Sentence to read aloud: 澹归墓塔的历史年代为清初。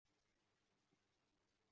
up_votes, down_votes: 2, 0